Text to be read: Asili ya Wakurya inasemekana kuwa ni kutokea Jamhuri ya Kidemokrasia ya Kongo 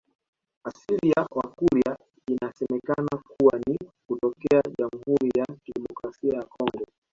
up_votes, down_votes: 1, 2